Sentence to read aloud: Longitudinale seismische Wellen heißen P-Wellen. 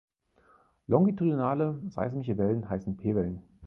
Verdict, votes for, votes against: accepted, 4, 0